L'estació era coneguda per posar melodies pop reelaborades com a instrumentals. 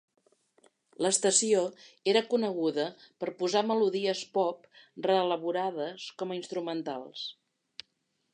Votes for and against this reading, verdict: 3, 0, accepted